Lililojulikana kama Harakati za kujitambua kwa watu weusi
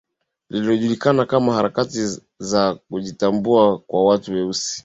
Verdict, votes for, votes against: accepted, 15, 0